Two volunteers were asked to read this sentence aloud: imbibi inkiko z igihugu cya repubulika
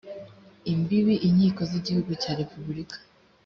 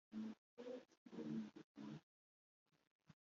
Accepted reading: first